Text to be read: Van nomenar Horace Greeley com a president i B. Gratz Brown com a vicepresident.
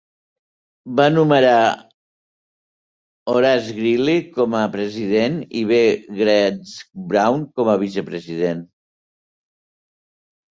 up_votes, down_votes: 0, 3